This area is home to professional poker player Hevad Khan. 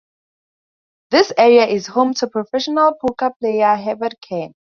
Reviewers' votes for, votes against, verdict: 4, 0, accepted